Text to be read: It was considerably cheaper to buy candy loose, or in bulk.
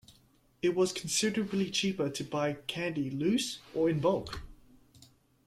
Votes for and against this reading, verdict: 2, 0, accepted